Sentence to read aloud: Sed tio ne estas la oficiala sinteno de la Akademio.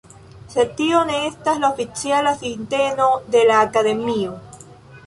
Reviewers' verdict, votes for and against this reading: accepted, 2, 0